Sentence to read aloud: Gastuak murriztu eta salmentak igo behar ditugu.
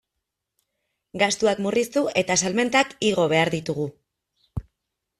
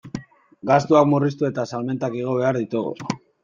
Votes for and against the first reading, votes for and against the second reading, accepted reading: 2, 0, 0, 2, first